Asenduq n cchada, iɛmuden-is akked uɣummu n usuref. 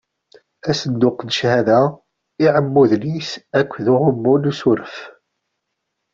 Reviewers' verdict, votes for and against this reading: accepted, 2, 0